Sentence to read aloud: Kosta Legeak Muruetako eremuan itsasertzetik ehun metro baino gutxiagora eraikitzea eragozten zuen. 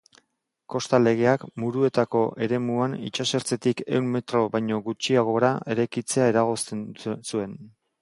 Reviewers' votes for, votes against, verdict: 1, 2, rejected